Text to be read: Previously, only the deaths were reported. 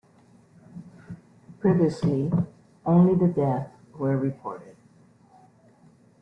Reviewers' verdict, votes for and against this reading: rejected, 1, 2